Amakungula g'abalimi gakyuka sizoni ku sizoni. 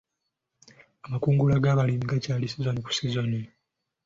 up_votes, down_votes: 2, 0